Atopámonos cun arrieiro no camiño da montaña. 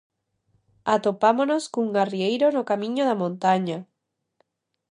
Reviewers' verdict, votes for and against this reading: accepted, 2, 0